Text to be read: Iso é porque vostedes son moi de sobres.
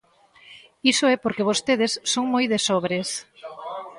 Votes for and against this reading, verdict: 0, 2, rejected